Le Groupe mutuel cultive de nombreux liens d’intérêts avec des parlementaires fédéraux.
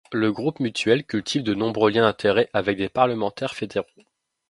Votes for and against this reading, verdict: 0, 2, rejected